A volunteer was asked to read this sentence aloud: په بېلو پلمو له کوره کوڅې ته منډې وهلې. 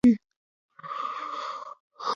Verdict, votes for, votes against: rejected, 0, 2